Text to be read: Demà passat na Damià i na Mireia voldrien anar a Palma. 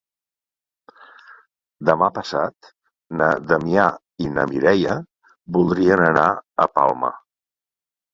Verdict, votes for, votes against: accepted, 2, 1